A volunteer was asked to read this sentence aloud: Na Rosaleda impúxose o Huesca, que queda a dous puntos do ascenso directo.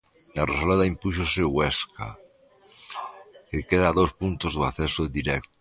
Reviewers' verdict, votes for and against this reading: rejected, 0, 2